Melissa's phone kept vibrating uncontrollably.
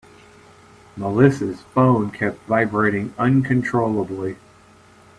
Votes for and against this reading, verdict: 2, 1, accepted